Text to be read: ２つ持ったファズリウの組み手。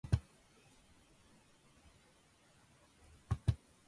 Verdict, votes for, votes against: rejected, 0, 2